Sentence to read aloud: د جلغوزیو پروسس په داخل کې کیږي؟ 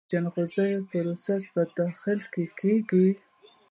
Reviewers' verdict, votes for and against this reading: accepted, 2, 0